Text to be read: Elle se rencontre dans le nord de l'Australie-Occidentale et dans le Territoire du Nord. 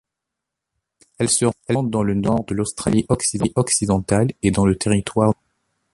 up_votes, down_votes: 0, 2